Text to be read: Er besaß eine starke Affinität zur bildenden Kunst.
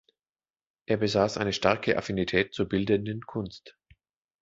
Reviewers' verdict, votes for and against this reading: accepted, 2, 0